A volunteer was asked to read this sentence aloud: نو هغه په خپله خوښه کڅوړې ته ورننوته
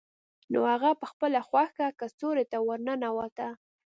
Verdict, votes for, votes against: accepted, 2, 0